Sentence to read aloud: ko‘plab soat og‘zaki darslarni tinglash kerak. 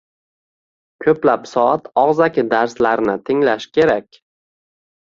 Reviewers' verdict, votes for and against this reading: accepted, 2, 0